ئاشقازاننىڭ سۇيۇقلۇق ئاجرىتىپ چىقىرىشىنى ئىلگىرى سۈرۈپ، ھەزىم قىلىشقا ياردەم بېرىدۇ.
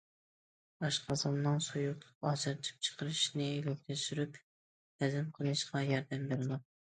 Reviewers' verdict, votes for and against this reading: rejected, 1, 2